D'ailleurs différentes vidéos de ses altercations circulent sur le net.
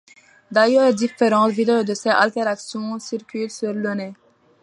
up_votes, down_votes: 2, 1